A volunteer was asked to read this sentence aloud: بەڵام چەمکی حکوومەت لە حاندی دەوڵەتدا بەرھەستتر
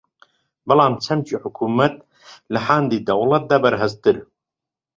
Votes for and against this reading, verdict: 2, 0, accepted